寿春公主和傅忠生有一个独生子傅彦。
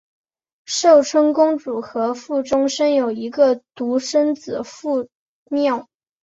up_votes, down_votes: 1, 2